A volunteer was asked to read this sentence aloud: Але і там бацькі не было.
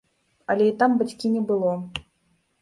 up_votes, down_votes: 1, 2